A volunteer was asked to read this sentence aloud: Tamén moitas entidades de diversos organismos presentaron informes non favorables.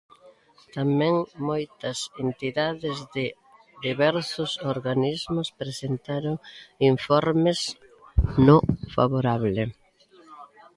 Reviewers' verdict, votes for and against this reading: rejected, 0, 2